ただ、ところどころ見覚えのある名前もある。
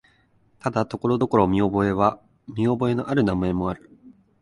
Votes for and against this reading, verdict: 0, 4, rejected